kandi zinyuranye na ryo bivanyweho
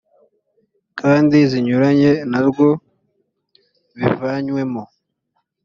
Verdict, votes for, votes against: rejected, 0, 2